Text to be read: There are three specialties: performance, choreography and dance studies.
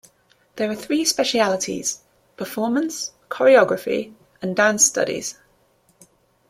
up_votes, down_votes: 0, 2